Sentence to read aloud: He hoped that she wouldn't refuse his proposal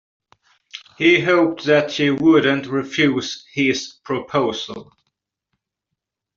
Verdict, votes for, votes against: accepted, 2, 0